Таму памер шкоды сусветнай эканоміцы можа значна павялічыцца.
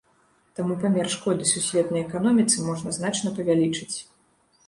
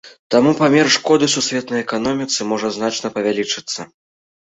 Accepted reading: second